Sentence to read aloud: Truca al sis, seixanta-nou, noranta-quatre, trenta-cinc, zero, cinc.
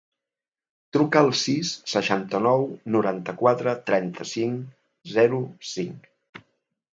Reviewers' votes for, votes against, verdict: 2, 0, accepted